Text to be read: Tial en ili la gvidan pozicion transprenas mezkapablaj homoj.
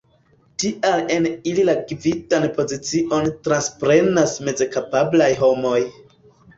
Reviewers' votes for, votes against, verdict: 1, 2, rejected